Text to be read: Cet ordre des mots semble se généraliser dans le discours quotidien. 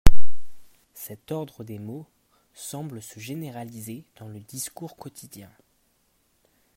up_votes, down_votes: 1, 2